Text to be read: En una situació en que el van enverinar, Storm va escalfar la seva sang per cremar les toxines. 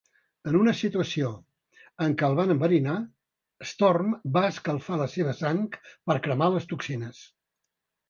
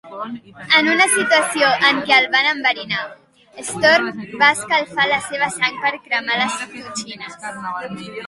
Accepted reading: first